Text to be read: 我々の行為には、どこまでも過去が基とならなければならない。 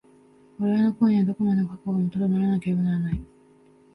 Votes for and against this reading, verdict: 0, 3, rejected